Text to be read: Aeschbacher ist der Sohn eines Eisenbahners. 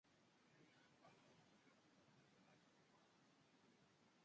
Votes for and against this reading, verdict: 0, 3, rejected